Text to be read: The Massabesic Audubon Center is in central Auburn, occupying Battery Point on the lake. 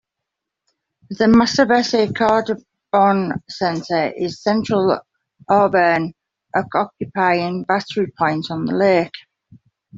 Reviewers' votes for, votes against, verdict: 1, 2, rejected